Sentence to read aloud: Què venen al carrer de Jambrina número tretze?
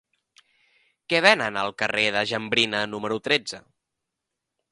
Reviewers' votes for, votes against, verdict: 3, 0, accepted